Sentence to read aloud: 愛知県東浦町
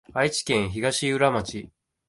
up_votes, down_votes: 2, 1